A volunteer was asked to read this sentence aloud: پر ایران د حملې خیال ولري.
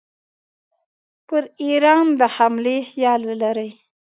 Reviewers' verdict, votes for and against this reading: accepted, 2, 0